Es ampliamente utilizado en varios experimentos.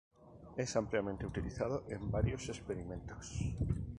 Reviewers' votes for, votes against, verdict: 4, 0, accepted